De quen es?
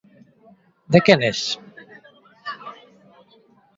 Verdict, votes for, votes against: accepted, 2, 0